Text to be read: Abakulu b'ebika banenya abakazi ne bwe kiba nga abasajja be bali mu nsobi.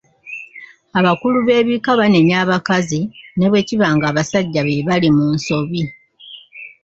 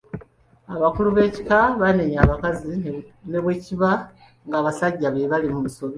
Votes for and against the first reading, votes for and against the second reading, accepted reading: 2, 0, 0, 2, first